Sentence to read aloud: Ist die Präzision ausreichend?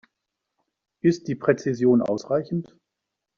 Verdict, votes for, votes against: accepted, 2, 0